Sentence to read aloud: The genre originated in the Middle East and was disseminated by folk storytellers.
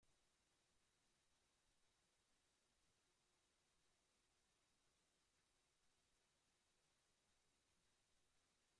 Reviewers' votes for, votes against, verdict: 0, 2, rejected